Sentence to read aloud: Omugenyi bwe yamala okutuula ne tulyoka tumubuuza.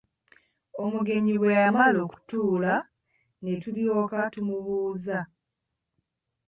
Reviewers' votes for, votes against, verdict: 2, 1, accepted